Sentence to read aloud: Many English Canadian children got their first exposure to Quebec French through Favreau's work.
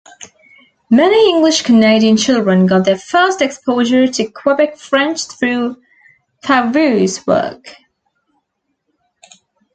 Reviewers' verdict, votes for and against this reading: accepted, 2, 0